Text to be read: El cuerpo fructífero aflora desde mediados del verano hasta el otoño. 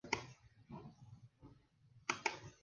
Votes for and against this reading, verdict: 0, 2, rejected